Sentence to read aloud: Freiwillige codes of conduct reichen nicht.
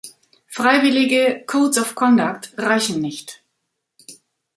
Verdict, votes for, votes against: rejected, 1, 2